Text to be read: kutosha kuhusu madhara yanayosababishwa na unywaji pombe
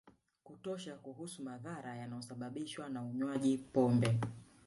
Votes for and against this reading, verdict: 1, 2, rejected